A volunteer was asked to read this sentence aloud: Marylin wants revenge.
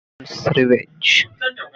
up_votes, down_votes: 0, 2